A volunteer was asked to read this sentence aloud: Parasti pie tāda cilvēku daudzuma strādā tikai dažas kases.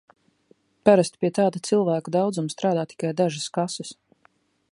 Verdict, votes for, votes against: accepted, 2, 0